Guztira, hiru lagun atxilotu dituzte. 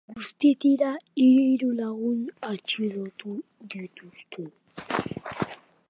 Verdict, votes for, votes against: rejected, 0, 2